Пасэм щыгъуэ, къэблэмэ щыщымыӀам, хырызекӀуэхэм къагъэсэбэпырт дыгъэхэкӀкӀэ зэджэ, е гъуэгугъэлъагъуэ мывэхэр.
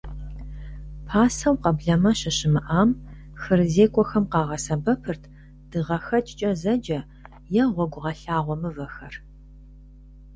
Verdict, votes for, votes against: rejected, 0, 2